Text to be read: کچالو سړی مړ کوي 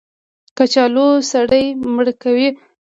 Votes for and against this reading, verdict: 2, 0, accepted